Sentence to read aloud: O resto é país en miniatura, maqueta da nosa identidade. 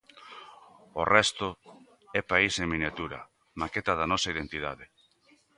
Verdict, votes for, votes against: accepted, 2, 0